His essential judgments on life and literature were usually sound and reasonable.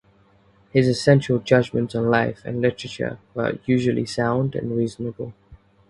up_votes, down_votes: 2, 2